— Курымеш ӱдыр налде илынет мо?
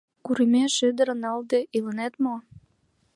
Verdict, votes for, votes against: accepted, 2, 0